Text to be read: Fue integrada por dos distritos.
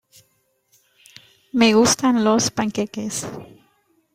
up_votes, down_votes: 0, 2